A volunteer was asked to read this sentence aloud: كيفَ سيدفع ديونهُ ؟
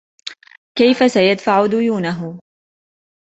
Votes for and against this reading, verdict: 2, 0, accepted